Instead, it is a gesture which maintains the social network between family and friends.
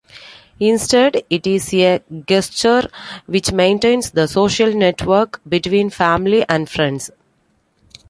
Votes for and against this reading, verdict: 2, 0, accepted